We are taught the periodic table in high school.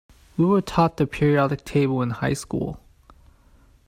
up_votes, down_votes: 1, 2